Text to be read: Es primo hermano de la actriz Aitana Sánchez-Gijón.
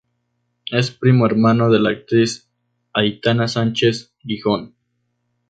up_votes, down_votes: 2, 0